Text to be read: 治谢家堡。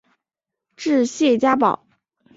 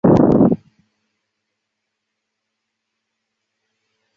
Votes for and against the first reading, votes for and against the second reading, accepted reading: 5, 1, 0, 2, first